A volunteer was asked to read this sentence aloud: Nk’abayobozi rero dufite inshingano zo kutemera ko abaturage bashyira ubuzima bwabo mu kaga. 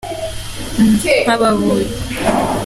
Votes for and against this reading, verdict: 0, 2, rejected